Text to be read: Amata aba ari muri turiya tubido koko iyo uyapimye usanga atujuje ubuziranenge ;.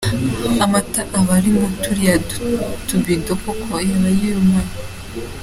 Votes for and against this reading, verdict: 0, 2, rejected